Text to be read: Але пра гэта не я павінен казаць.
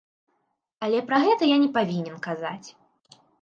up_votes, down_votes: 1, 2